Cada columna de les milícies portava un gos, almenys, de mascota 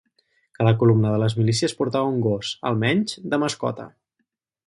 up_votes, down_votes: 4, 0